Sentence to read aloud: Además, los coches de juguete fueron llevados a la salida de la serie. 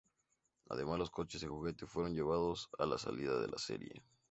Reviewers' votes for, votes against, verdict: 2, 0, accepted